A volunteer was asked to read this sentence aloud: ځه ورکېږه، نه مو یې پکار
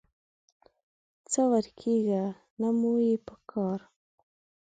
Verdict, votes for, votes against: accepted, 2, 0